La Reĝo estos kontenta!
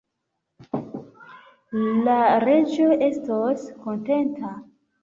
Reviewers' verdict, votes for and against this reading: accepted, 2, 1